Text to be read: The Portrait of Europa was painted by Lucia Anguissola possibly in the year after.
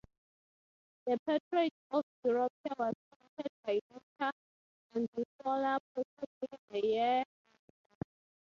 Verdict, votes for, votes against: rejected, 0, 6